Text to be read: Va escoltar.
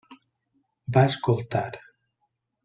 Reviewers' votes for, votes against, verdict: 3, 0, accepted